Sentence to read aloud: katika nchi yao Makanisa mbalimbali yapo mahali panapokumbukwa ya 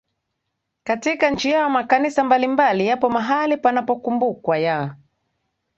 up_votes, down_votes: 2, 0